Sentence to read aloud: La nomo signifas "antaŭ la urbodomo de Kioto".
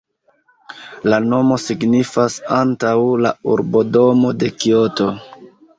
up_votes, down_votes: 2, 1